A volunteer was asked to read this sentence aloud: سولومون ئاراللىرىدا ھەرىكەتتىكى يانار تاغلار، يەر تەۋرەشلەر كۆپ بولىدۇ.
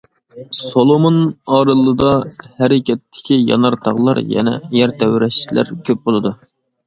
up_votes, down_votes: 0, 2